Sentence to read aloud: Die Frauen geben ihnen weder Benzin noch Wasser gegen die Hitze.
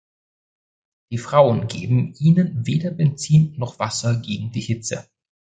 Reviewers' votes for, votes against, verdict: 2, 0, accepted